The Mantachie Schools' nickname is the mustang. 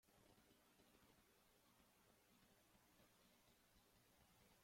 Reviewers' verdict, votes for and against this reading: rejected, 0, 2